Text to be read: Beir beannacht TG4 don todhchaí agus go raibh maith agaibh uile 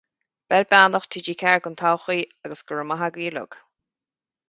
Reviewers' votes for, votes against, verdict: 0, 2, rejected